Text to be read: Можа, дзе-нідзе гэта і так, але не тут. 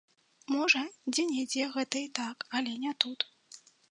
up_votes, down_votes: 2, 0